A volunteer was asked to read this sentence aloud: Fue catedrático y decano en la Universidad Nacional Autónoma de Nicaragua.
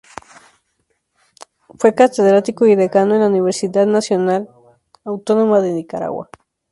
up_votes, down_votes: 0, 2